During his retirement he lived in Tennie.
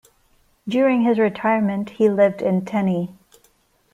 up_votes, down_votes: 2, 0